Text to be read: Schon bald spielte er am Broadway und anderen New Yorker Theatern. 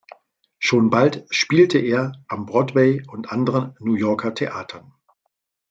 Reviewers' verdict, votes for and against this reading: rejected, 1, 2